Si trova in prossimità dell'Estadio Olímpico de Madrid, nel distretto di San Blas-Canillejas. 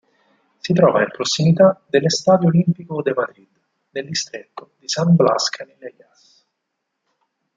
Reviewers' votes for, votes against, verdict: 2, 4, rejected